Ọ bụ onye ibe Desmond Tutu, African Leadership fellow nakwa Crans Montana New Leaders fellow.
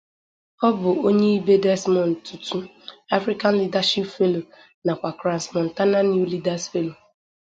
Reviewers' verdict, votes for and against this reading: accepted, 2, 0